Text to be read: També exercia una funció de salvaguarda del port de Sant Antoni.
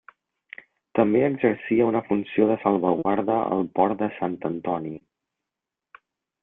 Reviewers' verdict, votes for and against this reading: rejected, 0, 2